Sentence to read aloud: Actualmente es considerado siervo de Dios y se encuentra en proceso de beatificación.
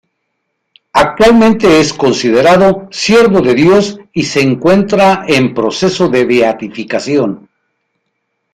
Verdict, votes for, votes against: rejected, 1, 2